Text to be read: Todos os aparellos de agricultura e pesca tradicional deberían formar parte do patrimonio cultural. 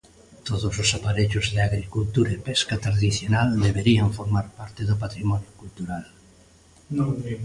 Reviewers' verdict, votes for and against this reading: rejected, 0, 2